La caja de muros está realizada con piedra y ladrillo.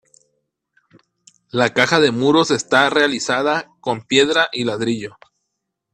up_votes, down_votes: 1, 2